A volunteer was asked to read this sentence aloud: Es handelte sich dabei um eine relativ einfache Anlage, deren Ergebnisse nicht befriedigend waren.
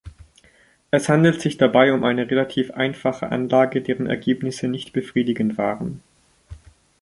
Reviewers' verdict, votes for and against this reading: rejected, 1, 2